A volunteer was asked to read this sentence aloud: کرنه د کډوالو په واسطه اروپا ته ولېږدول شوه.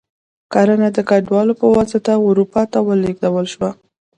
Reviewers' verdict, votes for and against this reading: accepted, 3, 2